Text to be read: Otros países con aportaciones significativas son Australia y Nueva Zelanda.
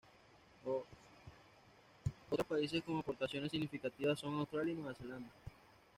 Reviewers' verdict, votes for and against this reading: rejected, 1, 2